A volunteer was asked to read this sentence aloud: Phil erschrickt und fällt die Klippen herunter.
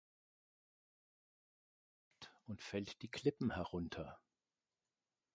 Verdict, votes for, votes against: rejected, 0, 2